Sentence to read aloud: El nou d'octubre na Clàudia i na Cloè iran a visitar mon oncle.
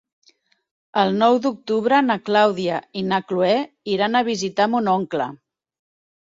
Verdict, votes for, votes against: accepted, 3, 0